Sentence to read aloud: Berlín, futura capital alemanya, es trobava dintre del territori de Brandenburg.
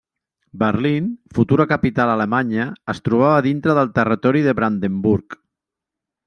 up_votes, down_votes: 0, 2